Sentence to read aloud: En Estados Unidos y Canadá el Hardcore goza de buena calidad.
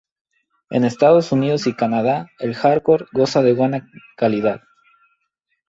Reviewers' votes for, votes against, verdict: 2, 2, rejected